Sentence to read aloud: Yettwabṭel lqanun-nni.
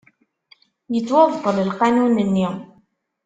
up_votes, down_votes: 2, 0